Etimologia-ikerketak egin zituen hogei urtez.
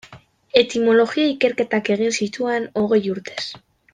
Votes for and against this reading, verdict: 1, 2, rejected